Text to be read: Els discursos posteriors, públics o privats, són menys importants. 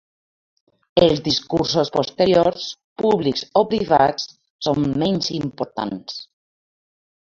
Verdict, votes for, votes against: rejected, 1, 2